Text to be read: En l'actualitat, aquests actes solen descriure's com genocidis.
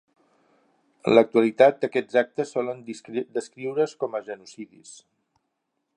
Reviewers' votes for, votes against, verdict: 2, 4, rejected